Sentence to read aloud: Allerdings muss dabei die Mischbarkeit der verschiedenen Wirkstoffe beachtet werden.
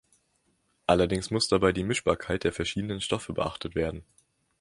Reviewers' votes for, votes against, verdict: 1, 2, rejected